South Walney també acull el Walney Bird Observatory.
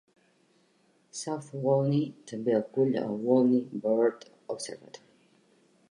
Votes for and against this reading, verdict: 1, 2, rejected